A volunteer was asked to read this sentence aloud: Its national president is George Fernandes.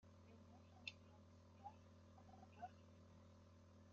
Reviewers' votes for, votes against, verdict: 0, 3, rejected